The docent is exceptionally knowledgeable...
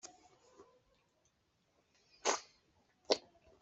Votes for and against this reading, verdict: 0, 2, rejected